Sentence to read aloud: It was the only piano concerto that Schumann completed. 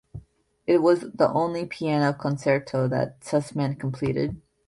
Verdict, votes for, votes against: rejected, 0, 2